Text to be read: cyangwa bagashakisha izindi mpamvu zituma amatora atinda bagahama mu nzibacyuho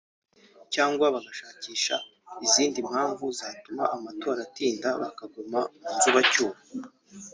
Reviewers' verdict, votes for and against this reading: rejected, 0, 3